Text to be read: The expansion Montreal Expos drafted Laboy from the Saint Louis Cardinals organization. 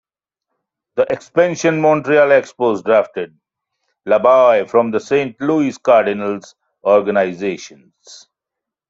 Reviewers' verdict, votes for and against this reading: rejected, 0, 2